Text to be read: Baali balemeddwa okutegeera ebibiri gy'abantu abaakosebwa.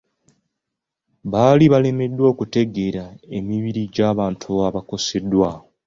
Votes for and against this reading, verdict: 0, 2, rejected